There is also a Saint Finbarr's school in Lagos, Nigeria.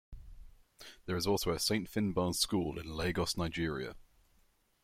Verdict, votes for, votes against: accepted, 2, 0